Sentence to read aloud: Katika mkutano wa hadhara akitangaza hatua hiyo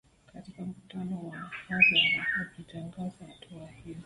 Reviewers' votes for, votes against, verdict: 3, 0, accepted